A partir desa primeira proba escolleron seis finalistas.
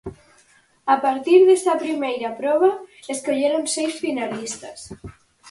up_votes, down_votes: 4, 0